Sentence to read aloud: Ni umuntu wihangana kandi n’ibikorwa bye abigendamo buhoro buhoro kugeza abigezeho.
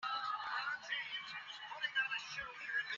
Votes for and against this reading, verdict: 0, 3, rejected